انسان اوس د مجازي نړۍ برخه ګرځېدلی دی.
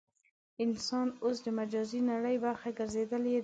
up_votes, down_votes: 0, 2